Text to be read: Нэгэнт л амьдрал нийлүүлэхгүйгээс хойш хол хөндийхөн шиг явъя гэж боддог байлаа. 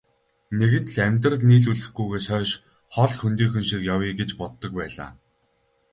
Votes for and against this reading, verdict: 2, 0, accepted